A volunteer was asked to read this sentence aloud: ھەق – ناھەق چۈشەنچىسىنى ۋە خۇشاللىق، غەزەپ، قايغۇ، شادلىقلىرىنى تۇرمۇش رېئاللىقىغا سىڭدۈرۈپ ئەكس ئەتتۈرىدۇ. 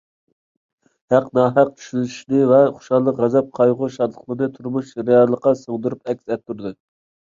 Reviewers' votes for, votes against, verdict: 0, 2, rejected